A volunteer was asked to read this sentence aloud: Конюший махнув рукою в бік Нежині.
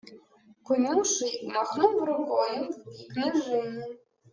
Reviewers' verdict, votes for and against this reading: rejected, 0, 2